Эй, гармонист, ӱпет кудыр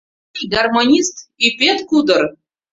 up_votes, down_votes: 1, 2